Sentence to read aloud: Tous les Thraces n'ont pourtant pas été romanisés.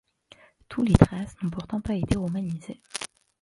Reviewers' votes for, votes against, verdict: 1, 2, rejected